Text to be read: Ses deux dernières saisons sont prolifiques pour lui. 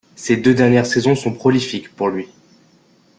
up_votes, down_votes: 2, 0